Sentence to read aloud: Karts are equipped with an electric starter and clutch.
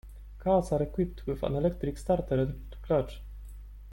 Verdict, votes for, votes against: accepted, 2, 0